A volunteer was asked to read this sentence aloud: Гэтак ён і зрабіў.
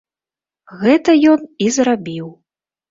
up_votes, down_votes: 1, 2